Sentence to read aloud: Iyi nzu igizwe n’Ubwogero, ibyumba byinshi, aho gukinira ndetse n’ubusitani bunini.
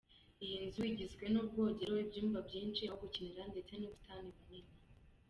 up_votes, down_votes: 1, 2